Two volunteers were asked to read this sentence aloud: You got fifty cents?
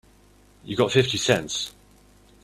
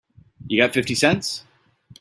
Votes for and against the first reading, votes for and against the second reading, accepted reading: 1, 2, 2, 0, second